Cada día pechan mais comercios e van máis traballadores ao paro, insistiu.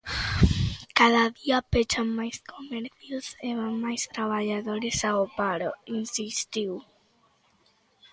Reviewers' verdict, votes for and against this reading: accepted, 2, 0